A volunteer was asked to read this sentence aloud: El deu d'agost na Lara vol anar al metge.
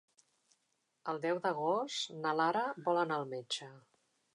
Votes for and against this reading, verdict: 3, 0, accepted